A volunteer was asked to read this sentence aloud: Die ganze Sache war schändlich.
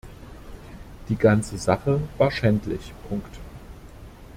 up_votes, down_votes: 1, 2